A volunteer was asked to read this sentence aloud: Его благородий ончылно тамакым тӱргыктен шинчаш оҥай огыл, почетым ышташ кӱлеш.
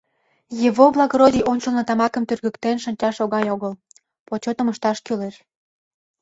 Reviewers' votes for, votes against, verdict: 2, 1, accepted